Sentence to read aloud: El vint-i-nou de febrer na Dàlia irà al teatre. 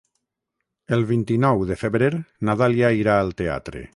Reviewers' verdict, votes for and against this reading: rejected, 3, 3